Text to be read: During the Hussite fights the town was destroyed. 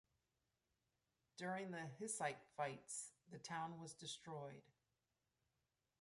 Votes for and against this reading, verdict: 2, 0, accepted